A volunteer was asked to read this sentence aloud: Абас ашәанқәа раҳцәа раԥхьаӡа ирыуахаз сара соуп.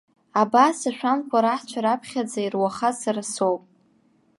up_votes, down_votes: 0, 2